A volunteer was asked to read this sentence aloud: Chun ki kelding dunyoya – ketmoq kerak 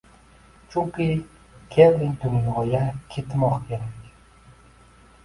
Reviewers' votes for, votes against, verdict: 0, 2, rejected